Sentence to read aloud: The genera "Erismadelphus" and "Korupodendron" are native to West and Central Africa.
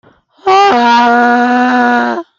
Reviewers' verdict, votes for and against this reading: rejected, 0, 2